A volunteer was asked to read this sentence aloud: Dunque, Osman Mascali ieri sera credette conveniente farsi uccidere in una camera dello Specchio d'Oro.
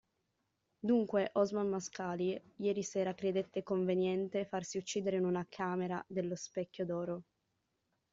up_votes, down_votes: 2, 0